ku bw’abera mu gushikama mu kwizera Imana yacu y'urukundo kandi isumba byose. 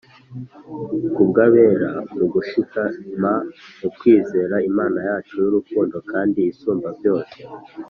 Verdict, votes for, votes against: accepted, 3, 0